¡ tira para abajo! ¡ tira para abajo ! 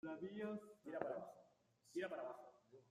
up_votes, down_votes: 0, 2